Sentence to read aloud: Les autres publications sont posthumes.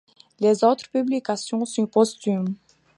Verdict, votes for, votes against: accepted, 2, 0